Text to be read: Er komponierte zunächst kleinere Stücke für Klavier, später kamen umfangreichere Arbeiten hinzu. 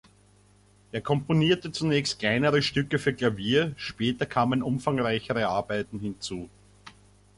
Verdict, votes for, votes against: accepted, 2, 0